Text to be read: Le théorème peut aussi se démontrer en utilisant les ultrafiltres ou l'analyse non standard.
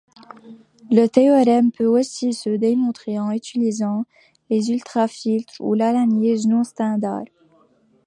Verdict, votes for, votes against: accepted, 2, 0